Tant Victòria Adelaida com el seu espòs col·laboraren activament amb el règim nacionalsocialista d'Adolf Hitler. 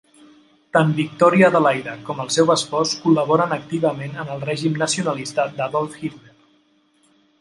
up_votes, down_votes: 0, 2